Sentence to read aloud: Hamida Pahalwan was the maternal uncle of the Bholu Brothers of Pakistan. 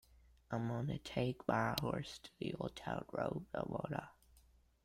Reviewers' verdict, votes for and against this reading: rejected, 0, 2